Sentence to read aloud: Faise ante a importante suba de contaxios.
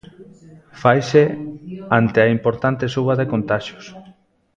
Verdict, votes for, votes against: rejected, 0, 2